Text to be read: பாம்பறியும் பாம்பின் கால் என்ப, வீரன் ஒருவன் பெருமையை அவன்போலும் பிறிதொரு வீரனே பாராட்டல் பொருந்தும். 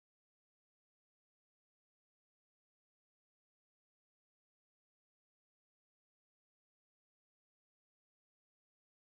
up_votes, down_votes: 0, 2